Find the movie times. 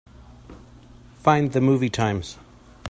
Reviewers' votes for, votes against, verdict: 2, 0, accepted